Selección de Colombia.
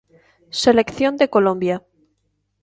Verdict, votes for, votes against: accepted, 2, 0